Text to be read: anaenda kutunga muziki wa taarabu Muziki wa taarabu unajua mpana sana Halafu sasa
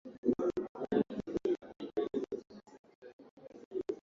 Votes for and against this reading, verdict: 0, 2, rejected